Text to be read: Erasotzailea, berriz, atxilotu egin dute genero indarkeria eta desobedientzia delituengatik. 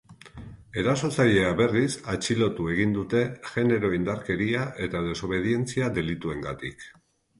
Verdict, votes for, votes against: rejected, 1, 2